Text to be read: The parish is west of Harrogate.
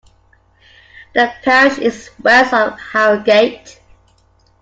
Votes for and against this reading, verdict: 2, 0, accepted